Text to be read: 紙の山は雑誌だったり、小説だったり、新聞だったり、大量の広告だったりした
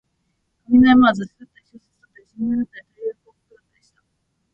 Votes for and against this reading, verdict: 0, 2, rejected